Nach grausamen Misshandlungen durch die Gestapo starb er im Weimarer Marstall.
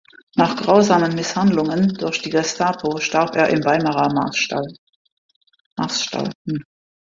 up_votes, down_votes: 0, 2